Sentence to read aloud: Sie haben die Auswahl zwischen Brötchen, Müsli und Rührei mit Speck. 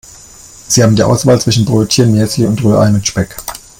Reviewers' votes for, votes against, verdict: 1, 2, rejected